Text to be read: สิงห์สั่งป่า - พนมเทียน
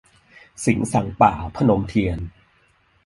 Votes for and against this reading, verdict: 1, 2, rejected